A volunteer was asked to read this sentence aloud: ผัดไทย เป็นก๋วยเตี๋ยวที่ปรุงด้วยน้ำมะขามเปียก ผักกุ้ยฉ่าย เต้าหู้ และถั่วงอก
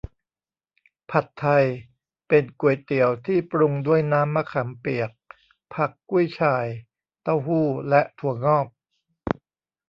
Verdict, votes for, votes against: rejected, 0, 2